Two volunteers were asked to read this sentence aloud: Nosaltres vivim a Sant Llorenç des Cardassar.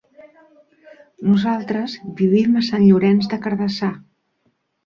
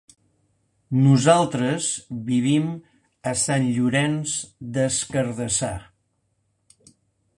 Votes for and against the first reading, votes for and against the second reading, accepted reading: 1, 2, 4, 0, second